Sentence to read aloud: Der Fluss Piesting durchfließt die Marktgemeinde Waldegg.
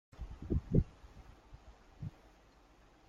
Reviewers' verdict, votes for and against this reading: rejected, 0, 2